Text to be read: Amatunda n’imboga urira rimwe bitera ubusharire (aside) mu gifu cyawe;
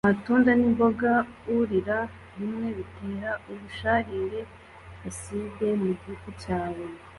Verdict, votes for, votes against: accepted, 2, 0